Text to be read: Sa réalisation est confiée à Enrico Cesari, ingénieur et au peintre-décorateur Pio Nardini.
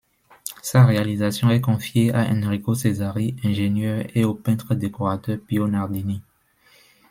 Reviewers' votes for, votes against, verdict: 2, 0, accepted